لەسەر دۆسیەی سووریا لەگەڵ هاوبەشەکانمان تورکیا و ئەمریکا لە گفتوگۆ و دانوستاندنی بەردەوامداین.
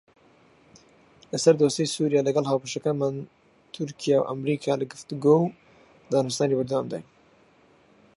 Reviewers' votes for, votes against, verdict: 2, 4, rejected